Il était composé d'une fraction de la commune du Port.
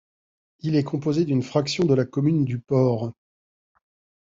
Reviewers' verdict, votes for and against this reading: rejected, 1, 2